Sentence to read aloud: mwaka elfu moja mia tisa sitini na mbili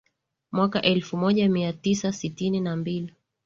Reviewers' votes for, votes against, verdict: 2, 0, accepted